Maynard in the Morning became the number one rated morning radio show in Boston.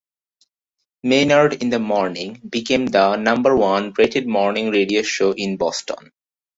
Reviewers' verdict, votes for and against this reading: accepted, 2, 0